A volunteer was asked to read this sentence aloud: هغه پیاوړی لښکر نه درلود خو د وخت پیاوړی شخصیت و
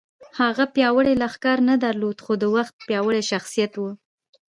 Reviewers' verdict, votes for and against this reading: accepted, 2, 0